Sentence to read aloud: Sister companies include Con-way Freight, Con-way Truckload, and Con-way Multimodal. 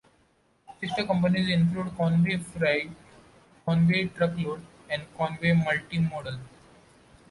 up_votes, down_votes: 2, 0